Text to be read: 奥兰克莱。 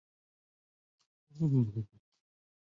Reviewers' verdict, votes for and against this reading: rejected, 0, 3